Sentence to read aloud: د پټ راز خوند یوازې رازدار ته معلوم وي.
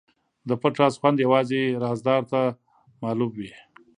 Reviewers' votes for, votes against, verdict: 2, 0, accepted